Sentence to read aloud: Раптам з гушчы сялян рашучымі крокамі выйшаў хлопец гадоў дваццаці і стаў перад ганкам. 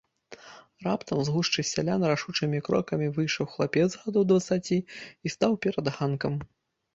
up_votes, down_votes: 1, 2